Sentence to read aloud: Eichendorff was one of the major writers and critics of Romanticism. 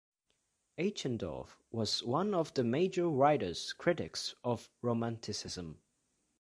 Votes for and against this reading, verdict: 1, 2, rejected